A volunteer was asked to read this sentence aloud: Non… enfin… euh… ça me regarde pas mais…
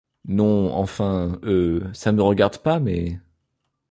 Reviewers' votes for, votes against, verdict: 2, 0, accepted